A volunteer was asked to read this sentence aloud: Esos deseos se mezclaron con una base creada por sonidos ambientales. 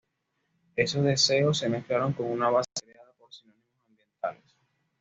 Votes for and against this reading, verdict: 1, 2, rejected